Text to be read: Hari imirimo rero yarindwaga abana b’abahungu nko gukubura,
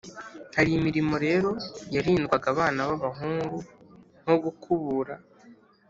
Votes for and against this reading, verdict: 2, 0, accepted